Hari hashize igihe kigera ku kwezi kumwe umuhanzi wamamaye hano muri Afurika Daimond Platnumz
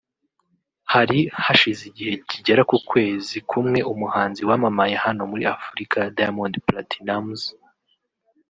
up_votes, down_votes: 3, 0